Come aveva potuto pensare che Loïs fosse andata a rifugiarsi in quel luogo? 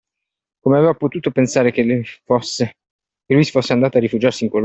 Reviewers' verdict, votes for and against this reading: rejected, 0, 2